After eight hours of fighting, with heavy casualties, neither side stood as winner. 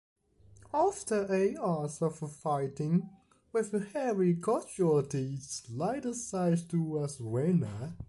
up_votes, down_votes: 1, 2